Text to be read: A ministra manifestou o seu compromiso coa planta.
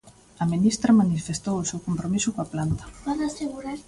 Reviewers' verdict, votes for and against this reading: rejected, 0, 2